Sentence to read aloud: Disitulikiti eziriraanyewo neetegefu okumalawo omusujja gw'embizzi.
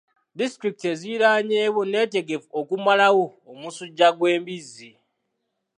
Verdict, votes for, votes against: accepted, 2, 0